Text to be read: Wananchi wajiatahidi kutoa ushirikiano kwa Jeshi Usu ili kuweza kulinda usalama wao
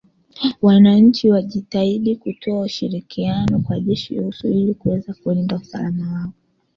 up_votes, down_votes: 1, 2